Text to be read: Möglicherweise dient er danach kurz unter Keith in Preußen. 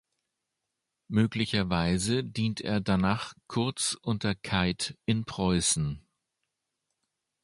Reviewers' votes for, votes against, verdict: 2, 0, accepted